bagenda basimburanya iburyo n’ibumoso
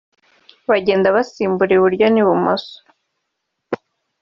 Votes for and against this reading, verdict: 0, 2, rejected